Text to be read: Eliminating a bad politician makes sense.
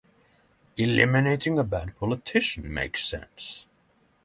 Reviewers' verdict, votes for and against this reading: accepted, 6, 0